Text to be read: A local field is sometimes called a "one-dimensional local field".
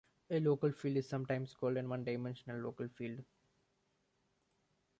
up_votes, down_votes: 0, 2